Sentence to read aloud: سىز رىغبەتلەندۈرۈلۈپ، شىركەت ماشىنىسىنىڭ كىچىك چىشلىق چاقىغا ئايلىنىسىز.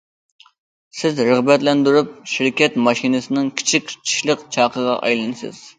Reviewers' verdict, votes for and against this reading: rejected, 1, 2